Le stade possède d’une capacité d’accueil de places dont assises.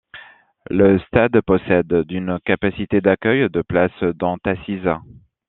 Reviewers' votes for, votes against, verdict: 2, 1, accepted